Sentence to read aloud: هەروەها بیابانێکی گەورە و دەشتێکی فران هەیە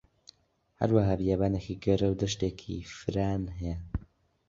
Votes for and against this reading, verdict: 2, 0, accepted